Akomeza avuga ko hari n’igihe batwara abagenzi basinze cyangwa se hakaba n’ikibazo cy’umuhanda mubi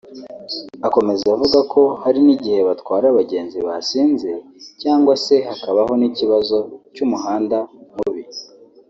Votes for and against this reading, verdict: 2, 3, rejected